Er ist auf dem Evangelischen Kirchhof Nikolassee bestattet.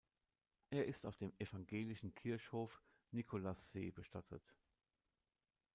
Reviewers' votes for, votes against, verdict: 1, 2, rejected